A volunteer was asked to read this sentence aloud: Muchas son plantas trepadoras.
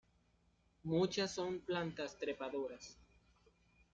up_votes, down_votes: 2, 0